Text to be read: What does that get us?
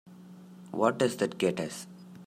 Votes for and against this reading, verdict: 2, 1, accepted